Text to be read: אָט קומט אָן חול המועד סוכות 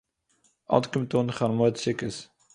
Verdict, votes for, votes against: accepted, 2, 0